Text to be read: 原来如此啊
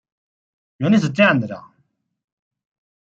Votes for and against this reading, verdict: 0, 2, rejected